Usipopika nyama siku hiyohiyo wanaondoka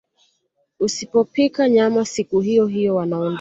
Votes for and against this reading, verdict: 1, 2, rejected